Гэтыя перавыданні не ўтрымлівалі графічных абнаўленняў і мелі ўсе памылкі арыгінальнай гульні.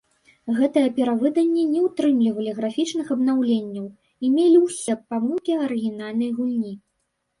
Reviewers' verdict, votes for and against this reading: rejected, 1, 2